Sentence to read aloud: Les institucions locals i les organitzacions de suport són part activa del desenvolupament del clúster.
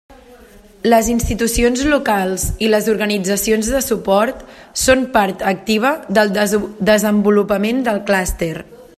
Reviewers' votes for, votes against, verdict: 0, 2, rejected